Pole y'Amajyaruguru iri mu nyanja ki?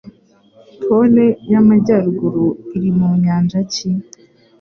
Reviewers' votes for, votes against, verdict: 2, 0, accepted